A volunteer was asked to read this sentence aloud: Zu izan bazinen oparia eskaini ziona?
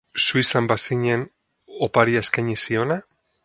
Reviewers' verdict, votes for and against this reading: accepted, 4, 2